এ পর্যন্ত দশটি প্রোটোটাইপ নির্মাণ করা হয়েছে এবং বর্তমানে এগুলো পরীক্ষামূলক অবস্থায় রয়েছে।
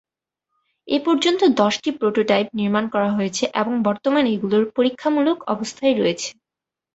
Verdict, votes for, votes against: accepted, 2, 0